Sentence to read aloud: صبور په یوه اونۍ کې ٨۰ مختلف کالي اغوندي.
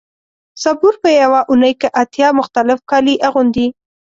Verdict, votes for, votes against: rejected, 0, 2